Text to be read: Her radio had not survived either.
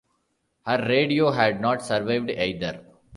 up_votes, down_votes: 1, 2